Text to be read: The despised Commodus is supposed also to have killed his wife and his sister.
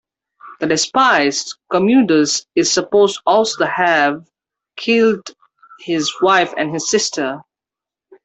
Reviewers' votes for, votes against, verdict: 2, 0, accepted